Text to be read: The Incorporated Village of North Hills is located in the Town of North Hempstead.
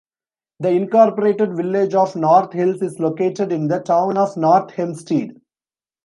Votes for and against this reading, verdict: 3, 1, accepted